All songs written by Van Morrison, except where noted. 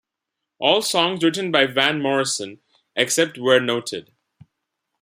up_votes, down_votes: 2, 1